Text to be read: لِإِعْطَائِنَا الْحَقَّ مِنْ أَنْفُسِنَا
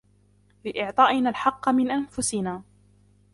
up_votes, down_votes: 0, 2